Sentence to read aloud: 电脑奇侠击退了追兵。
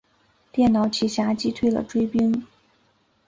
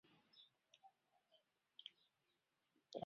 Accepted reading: first